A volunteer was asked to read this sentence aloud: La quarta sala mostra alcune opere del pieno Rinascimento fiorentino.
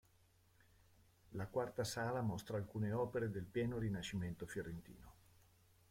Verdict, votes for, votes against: rejected, 0, 2